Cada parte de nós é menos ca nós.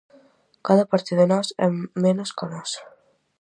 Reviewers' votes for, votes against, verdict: 4, 0, accepted